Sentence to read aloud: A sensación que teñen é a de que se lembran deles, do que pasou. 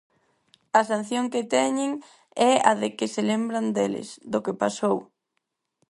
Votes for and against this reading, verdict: 0, 4, rejected